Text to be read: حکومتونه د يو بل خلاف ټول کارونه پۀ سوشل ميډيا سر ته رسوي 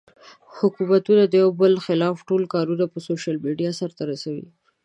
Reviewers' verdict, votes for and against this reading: rejected, 0, 2